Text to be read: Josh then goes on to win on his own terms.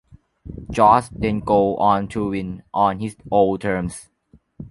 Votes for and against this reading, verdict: 0, 2, rejected